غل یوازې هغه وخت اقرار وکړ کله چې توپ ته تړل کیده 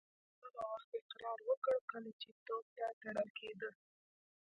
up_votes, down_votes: 0, 2